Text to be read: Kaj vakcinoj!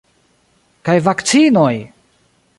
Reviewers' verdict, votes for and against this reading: accepted, 2, 1